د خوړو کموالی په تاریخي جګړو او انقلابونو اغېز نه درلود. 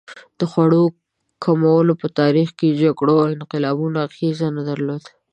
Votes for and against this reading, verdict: 0, 2, rejected